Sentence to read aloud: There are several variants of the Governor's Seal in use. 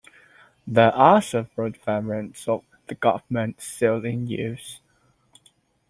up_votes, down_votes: 0, 2